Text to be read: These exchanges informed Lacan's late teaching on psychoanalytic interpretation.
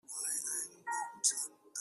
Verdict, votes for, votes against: rejected, 0, 2